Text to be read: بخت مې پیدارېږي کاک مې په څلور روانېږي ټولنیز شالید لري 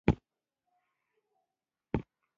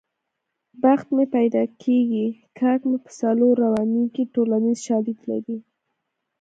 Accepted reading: second